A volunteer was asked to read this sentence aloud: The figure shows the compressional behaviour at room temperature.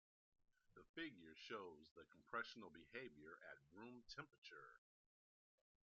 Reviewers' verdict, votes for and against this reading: accepted, 2, 0